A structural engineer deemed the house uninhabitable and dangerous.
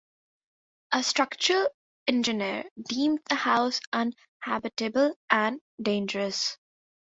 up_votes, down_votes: 1, 2